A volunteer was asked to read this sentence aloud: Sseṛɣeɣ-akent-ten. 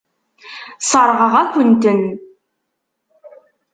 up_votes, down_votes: 2, 0